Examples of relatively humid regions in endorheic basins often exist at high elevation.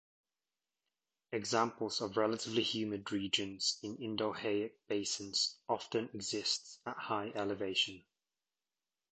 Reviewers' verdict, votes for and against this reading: rejected, 1, 2